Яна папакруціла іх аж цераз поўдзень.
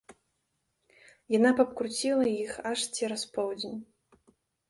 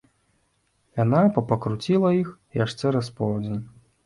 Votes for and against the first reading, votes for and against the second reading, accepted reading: 1, 2, 2, 0, second